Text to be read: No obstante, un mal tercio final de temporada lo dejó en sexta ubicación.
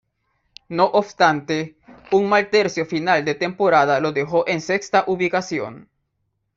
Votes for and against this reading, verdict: 2, 0, accepted